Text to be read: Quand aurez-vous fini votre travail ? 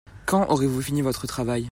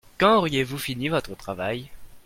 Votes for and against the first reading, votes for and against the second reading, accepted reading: 2, 0, 1, 2, first